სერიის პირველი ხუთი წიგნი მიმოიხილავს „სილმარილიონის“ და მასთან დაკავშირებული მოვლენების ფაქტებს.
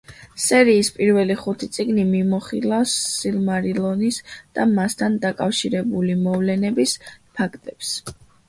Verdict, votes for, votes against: rejected, 0, 2